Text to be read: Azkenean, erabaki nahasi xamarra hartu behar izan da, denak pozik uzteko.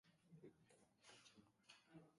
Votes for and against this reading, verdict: 0, 2, rejected